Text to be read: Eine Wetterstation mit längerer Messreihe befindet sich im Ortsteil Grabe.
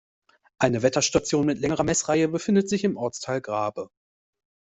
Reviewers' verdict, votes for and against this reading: accepted, 2, 0